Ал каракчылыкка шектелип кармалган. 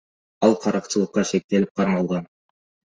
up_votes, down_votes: 2, 0